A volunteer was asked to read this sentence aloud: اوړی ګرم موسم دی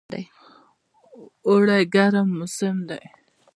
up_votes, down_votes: 0, 2